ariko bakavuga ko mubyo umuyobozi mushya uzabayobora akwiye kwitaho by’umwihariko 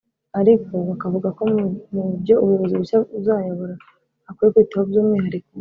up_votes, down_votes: 0, 3